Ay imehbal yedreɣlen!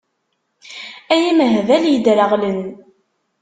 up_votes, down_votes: 2, 0